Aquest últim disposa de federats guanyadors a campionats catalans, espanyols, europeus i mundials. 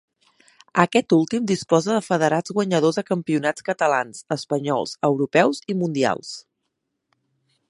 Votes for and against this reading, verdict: 3, 1, accepted